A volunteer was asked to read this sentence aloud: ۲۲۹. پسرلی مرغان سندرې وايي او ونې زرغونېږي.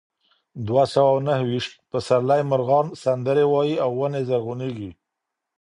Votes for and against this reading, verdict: 0, 2, rejected